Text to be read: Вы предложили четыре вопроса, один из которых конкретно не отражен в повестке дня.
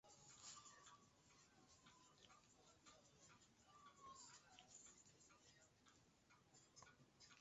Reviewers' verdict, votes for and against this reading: rejected, 0, 2